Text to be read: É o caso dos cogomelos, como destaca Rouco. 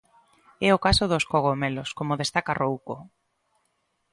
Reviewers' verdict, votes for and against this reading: accepted, 2, 0